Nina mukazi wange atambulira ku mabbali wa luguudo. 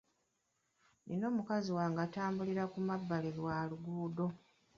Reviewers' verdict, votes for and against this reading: accepted, 2, 0